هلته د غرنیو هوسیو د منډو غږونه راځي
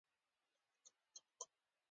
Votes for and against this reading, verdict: 2, 1, accepted